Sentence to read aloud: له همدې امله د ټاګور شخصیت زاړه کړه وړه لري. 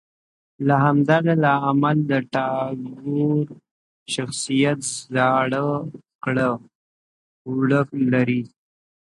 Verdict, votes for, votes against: rejected, 1, 2